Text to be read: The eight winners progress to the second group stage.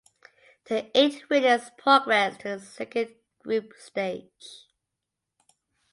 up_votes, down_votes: 2, 0